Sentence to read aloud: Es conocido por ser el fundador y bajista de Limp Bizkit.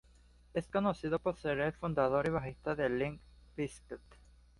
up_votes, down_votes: 2, 0